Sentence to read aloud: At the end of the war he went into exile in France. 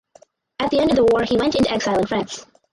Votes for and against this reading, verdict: 2, 2, rejected